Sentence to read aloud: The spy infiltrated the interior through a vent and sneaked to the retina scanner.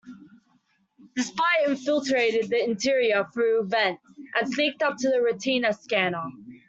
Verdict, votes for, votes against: rejected, 0, 2